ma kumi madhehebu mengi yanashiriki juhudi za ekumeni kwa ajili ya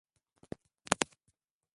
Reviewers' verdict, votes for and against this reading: rejected, 0, 2